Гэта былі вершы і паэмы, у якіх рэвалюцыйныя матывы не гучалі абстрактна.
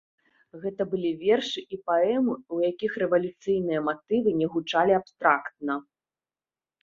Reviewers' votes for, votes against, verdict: 2, 0, accepted